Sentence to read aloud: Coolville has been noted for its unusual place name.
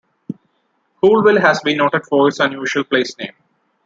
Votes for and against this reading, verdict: 2, 1, accepted